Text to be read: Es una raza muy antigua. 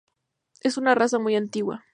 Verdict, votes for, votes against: accepted, 2, 0